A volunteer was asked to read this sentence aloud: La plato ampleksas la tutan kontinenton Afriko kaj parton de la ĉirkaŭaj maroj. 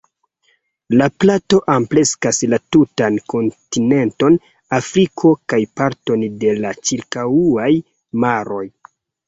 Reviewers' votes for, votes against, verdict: 2, 1, accepted